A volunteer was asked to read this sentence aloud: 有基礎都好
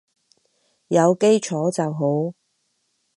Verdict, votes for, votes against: rejected, 0, 4